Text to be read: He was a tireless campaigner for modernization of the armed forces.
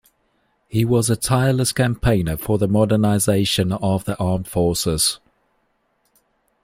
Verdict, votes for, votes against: rejected, 0, 2